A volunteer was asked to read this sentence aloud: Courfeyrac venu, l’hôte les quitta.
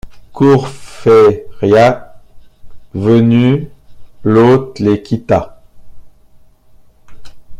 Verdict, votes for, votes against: rejected, 1, 2